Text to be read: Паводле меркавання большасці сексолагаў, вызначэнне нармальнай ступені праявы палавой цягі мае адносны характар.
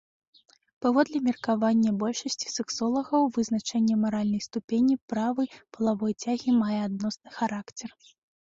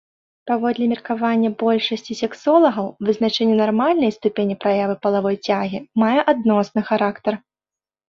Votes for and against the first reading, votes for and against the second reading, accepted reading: 0, 2, 2, 0, second